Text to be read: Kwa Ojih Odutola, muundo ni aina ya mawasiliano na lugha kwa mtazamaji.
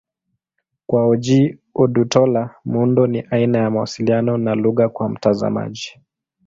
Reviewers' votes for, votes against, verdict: 2, 0, accepted